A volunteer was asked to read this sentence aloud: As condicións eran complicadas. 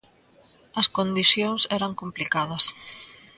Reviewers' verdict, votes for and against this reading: accepted, 2, 0